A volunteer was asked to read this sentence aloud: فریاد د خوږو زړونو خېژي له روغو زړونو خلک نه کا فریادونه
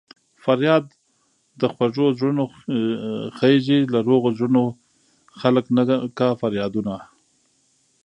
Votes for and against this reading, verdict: 1, 2, rejected